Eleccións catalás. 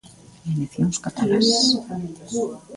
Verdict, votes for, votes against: rejected, 0, 2